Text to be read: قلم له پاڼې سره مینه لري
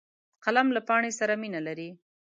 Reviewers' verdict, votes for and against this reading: accepted, 2, 0